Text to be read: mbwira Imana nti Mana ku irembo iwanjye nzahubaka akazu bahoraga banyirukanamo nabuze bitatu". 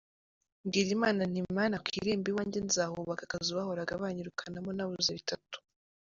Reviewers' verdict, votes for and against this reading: accepted, 2, 0